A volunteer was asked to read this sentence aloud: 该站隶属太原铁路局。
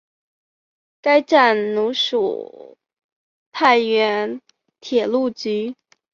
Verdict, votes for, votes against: rejected, 1, 4